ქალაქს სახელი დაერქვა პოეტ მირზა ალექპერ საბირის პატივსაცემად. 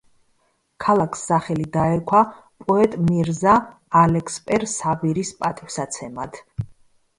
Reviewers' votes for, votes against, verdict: 1, 2, rejected